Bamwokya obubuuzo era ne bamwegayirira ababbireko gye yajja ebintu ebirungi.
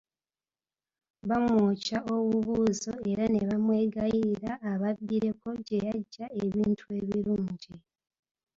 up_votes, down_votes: 2, 0